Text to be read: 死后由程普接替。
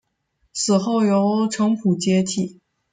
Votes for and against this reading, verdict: 0, 2, rejected